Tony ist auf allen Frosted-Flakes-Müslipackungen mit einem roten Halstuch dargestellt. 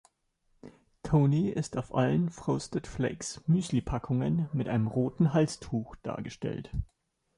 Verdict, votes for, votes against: accepted, 2, 0